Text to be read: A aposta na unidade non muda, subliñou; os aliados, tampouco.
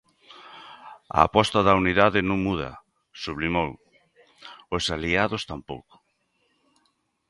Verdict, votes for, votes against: rejected, 0, 2